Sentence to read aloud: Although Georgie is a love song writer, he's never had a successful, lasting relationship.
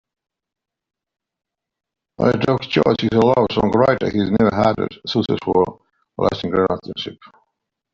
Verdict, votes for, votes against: rejected, 1, 2